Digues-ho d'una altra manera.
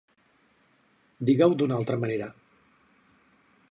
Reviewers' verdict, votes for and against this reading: rejected, 0, 4